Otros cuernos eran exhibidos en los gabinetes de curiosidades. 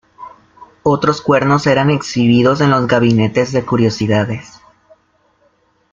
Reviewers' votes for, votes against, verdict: 2, 0, accepted